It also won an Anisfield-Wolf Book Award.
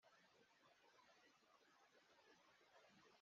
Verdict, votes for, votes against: rejected, 0, 2